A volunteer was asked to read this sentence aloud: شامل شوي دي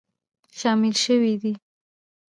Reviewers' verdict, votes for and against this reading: rejected, 1, 2